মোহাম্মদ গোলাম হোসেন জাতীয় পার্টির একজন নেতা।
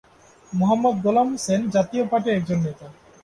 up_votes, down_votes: 9, 1